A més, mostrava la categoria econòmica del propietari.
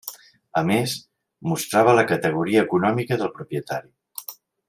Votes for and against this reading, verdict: 3, 0, accepted